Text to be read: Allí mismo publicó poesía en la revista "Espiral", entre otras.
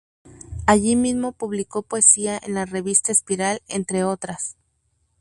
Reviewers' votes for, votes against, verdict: 2, 0, accepted